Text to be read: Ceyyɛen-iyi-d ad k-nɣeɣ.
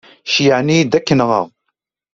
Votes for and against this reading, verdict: 2, 0, accepted